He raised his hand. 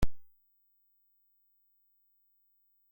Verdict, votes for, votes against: rejected, 0, 2